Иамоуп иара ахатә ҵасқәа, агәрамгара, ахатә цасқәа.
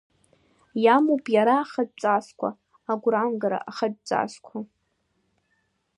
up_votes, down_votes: 3, 1